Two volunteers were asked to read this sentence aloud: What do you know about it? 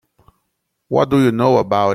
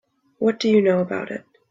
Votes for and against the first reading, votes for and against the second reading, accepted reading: 1, 2, 3, 0, second